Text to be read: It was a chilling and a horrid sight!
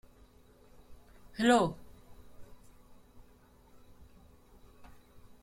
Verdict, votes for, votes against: rejected, 0, 2